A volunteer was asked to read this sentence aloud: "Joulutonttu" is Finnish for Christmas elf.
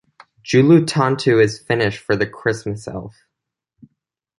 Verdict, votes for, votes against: rejected, 1, 2